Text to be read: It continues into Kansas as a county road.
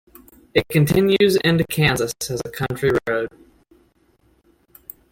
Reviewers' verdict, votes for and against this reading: rejected, 0, 2